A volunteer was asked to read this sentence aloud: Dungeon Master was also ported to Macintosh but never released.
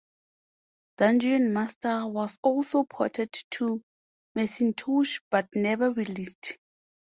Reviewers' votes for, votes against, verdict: 2, 0, accepted